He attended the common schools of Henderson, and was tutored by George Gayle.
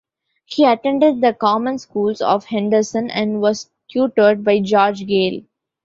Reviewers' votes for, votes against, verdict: 2, 0, accepted